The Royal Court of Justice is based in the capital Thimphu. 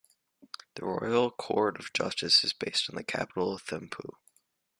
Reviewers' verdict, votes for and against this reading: accepted, 2, 0